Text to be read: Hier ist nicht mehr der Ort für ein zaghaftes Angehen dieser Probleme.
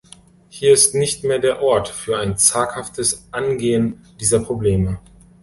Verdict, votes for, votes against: accepted, 2, 0